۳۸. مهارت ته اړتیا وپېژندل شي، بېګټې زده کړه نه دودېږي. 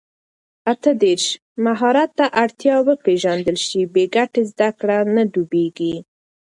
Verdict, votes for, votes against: rejected, 0, 2